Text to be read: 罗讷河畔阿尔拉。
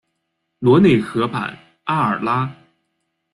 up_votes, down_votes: 0, 2